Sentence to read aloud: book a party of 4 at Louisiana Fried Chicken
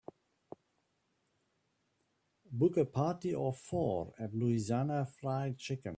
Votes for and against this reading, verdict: 0, 2, rejected